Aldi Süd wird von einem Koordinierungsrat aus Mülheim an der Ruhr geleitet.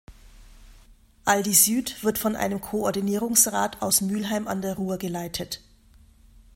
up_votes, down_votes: 2, 0